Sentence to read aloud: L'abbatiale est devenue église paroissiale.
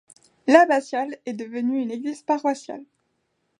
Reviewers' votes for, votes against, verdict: 0, 2, rejected